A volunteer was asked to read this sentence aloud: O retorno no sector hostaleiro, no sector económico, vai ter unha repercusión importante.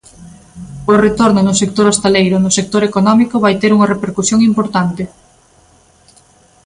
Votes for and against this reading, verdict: 2, 0, accepted